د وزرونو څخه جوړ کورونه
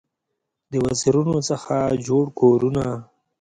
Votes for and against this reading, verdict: 2, 0, accepted